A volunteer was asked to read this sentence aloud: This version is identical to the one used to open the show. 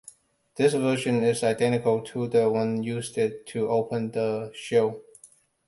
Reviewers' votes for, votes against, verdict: 2, 0, accepted